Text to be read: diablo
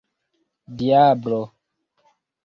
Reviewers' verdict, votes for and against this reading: accepted, 2, 0